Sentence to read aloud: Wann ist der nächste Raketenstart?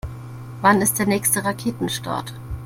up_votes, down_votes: 2, 0